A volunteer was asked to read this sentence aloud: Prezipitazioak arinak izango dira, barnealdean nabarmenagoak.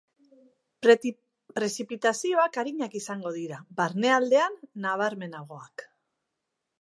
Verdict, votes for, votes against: rejected, 1, 2